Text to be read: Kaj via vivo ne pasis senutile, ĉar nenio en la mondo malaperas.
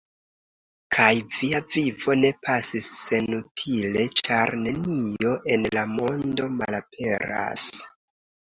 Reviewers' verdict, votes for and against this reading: accepted, 2, 0